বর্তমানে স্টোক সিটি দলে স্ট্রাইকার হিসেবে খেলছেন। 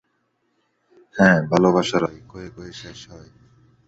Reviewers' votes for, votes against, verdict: 0, 2, rejected